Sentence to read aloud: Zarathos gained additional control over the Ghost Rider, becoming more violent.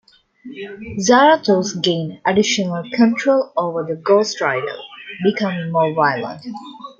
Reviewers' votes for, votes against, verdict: 0, 2, rejected